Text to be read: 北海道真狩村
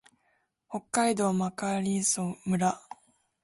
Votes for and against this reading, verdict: 0, 2, rejected